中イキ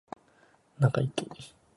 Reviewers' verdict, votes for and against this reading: accepted, 2, 1